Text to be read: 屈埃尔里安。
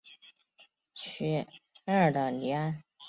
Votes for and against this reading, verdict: 2, 1, accepted